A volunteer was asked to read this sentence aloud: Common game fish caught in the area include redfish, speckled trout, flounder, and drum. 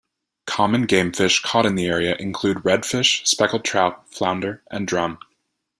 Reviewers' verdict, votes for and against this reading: accepted, 2, 0